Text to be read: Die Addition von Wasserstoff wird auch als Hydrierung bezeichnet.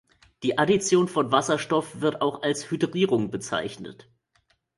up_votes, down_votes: 2, 0